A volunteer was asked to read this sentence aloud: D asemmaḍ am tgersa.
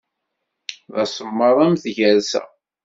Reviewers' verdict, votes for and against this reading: accepted, 2, 0